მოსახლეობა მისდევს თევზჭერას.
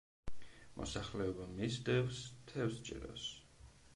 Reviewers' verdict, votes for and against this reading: accepted, 2, 0